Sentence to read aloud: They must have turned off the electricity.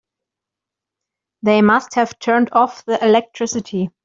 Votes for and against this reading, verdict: 1, 2, rejected